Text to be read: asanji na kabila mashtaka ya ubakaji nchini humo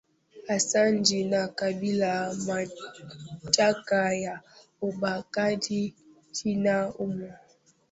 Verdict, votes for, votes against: rejected, 0, 3